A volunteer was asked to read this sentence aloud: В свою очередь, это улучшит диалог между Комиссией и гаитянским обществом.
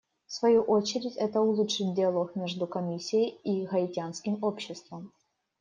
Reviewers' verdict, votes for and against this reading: rejected, 1, 2